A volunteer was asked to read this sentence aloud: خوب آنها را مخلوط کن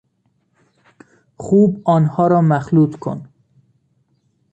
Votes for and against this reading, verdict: 2, 0, accepted